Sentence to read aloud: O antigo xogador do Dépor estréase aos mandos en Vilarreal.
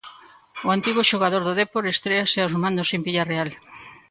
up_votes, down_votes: 0, 2